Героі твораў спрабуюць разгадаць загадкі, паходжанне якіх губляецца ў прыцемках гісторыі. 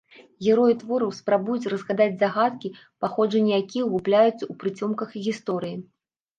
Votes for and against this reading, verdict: 0, 2, rejected